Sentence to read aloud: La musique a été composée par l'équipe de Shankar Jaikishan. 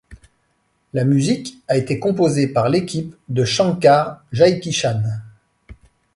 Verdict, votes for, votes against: accepted, 2, 0